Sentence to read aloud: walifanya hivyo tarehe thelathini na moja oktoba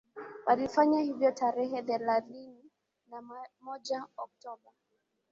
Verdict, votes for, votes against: rejected, 2, 2